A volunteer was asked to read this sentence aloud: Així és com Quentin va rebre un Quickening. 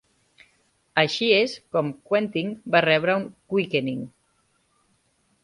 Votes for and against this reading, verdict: 2, 0, accepted